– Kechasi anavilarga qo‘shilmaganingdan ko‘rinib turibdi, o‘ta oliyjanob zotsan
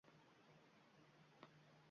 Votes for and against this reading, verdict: 0, 2, rejected